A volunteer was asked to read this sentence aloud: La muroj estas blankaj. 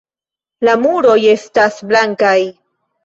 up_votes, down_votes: 1, 2